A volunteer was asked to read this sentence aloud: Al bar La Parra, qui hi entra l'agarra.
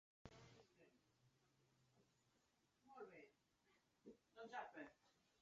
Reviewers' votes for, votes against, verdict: 0, 2, rejected